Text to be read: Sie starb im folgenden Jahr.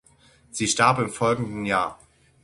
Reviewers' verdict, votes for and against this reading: accepted, 6, 0